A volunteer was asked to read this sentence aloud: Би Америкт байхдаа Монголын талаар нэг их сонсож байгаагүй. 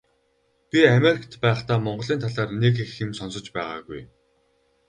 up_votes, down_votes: 2, 4